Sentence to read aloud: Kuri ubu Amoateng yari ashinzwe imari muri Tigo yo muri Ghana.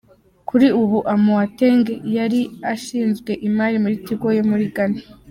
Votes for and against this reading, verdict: 2, 0, accepted